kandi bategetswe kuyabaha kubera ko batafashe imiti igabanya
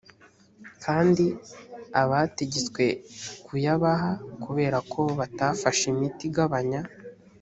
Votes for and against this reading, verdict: 2, 3, rejected